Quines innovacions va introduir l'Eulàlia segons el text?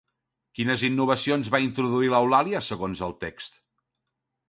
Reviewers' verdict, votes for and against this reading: accepted, 2, 0